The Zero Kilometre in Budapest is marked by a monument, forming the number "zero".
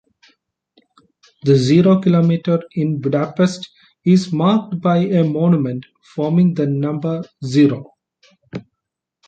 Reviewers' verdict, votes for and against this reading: accepted, 2, 0